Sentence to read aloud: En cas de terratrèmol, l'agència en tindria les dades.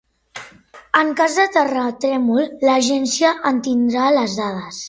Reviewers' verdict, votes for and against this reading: rejected, 0, 2